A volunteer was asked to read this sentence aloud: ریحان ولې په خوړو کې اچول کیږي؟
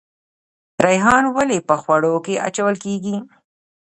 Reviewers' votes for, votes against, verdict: 2, 0, accepted